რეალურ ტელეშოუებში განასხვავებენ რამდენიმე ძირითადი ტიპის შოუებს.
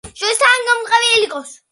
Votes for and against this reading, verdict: 0, 2, rejected